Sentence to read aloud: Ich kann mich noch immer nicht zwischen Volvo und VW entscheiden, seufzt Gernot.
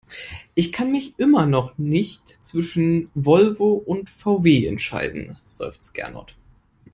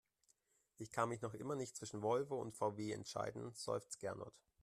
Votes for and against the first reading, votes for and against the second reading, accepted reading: 0, 2, 2, 1, second